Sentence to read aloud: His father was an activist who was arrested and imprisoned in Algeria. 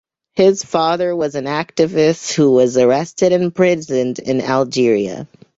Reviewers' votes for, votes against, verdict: 2, 0, accepted